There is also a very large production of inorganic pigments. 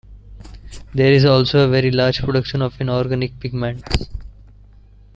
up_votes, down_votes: 2, 0